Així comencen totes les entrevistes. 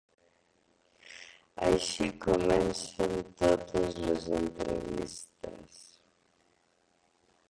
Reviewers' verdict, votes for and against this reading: rejected, 0, 2